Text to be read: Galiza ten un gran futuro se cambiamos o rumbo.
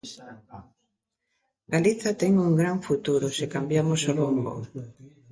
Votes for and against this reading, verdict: 0, 2, rejected